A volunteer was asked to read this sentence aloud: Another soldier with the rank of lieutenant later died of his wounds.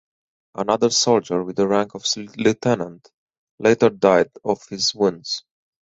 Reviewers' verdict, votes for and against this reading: rejected, 2, 4